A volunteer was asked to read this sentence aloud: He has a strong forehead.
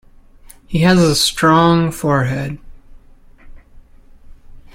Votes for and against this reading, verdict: 2, 0, accepted